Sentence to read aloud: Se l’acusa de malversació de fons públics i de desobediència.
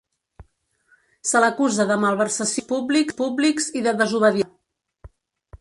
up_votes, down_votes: 0, 3